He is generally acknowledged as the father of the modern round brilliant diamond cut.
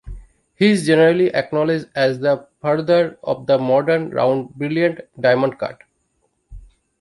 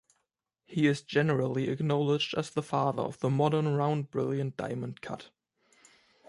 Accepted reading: second